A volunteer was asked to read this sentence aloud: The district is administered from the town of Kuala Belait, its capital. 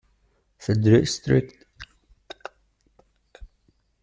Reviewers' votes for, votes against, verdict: 0, 2, rejected